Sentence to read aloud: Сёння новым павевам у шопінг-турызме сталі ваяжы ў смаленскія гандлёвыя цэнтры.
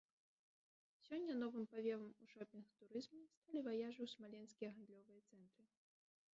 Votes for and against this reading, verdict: 2, 4, rejected